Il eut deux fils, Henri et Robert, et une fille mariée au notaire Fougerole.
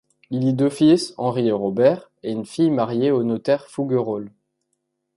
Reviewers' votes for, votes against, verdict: 0, 3, rejected